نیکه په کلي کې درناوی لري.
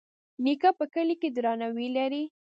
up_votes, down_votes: 0, 2